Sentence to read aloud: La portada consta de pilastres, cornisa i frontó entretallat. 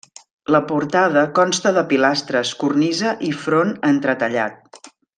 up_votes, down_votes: 0, 2